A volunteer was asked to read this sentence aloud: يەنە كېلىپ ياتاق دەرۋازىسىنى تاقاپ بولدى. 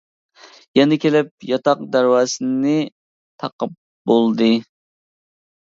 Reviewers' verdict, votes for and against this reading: accepted, 2, 1